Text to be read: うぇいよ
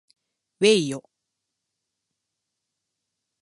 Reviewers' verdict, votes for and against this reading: accepted, 2, 0